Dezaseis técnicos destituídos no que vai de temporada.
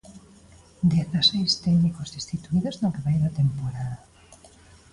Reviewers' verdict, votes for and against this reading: accepted, 2, 0